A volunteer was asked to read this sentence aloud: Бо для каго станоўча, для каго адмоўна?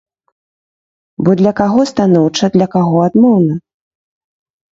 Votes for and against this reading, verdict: 3, 0, accepted